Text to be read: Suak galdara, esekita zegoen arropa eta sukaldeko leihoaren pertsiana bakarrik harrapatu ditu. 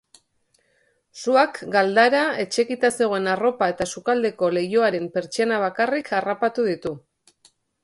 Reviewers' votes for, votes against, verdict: 2, 0, accepted